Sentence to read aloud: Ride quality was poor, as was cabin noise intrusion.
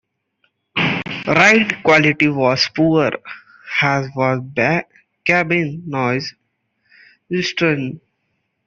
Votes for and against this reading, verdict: 0, 2, rejected